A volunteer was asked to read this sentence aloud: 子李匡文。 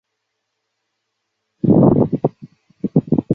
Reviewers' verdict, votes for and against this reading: rejected, 0, 3